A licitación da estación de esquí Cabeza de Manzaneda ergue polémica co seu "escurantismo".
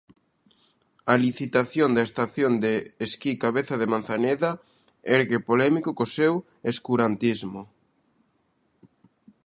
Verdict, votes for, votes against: rejected, 1, 2